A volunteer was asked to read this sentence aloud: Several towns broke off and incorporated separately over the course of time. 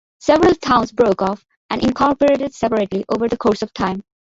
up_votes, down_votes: 2, 1